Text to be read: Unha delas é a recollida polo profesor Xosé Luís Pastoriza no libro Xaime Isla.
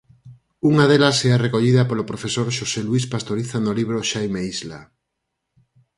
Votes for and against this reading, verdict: 4, 0, accepted